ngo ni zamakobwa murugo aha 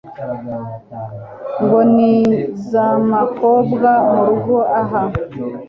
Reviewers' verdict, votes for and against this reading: accepted, 2, 0